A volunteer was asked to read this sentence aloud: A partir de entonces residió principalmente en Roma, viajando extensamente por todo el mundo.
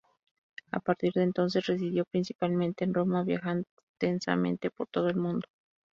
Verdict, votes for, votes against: rejected, 0, 2